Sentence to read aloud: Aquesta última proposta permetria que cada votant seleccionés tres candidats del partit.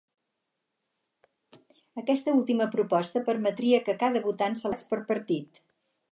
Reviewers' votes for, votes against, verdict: 0, 4, rejected